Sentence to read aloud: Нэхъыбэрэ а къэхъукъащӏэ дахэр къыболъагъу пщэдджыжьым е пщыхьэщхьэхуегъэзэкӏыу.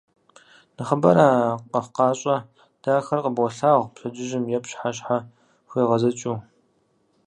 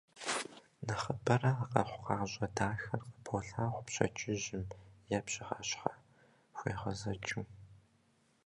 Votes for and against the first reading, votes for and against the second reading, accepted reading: 2, 2, 2, 0, second